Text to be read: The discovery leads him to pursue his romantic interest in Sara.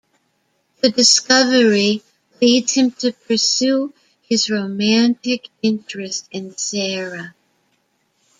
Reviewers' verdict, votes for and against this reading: rejected, 1, 2